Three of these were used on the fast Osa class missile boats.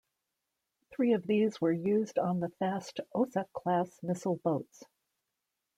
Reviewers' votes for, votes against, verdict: 2, 0, accepted